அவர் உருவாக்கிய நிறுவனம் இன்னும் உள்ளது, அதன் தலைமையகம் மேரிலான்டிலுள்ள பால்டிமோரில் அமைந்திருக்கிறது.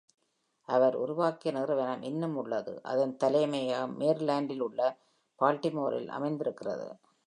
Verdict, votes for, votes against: accepted, 2, 1